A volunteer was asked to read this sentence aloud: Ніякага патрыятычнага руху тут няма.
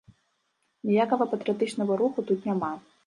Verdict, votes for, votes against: accepted, 2, 0